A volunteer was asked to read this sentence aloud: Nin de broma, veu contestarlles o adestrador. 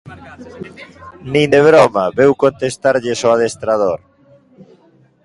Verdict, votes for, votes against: rejected, 0, 2